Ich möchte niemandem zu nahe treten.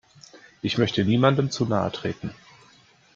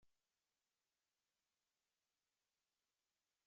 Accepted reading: first